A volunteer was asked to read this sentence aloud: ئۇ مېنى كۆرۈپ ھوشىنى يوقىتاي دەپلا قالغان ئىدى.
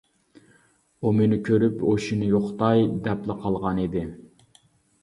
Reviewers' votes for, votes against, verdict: 2, 0, accepted